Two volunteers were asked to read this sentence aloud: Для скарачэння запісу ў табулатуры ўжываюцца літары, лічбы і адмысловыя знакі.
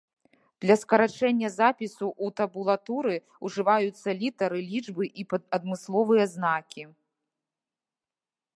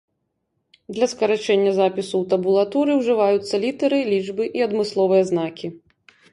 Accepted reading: second